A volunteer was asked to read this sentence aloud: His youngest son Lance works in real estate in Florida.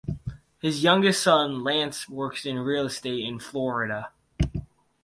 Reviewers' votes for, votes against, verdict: 6, 0, accepted